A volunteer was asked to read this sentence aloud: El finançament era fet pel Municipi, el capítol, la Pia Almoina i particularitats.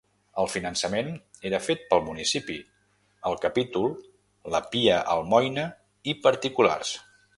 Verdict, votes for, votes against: rejected, 2, 4